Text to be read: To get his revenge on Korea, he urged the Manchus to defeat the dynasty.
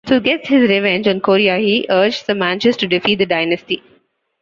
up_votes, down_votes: 0, 2